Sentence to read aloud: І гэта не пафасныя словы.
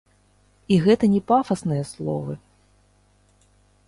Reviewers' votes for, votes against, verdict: 0, 2, rejected